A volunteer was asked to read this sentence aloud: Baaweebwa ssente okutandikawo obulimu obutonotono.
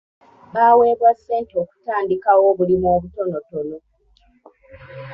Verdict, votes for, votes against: accepted, 2, 1